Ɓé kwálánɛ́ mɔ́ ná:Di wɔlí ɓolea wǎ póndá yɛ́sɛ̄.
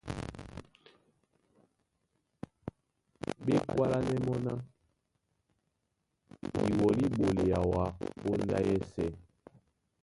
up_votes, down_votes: 0, 2